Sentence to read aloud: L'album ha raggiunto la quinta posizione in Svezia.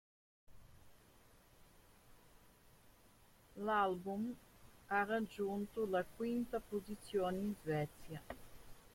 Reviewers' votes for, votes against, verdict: 1, 2, rejected